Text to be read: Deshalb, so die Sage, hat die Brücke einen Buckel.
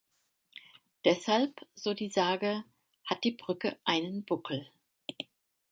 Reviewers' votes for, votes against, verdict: 2, 0, accepted